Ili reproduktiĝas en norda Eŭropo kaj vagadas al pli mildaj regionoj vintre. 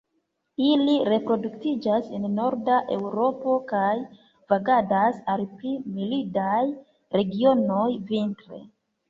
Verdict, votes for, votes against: rejected, 0, 3